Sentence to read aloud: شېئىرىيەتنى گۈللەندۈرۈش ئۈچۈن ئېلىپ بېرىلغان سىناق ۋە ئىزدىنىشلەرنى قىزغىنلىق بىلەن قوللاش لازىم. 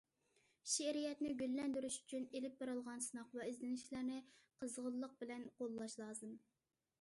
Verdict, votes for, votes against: accepted, 2, 0